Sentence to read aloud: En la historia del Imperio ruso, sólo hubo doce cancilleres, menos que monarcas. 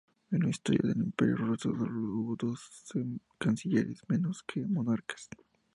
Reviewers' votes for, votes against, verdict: 0, 2, rejected